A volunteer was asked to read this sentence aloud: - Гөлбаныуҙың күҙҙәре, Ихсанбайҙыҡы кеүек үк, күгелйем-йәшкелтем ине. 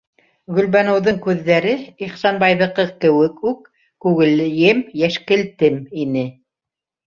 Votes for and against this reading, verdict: 4, 1, accepted